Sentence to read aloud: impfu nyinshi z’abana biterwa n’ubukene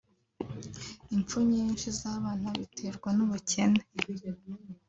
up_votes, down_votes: 3, 0